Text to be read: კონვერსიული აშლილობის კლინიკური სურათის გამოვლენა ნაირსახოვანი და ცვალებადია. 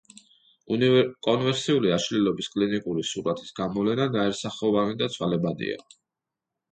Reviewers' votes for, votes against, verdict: 1, 2, rejected